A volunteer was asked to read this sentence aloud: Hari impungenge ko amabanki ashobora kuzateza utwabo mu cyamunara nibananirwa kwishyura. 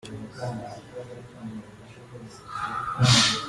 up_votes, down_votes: 0, 2